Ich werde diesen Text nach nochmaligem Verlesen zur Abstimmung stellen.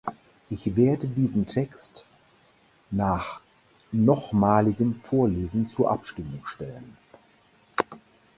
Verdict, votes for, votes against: rejected, 2, 4